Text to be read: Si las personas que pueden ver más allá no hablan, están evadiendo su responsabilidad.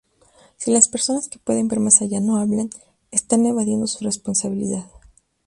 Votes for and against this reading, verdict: 4, 0, accepted